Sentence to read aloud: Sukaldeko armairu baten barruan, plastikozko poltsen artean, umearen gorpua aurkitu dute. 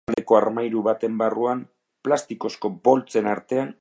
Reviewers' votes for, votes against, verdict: 0, 3, rejected